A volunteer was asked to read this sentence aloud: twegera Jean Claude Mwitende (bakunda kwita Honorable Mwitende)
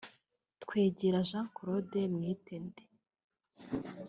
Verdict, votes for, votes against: rejected, 0, 4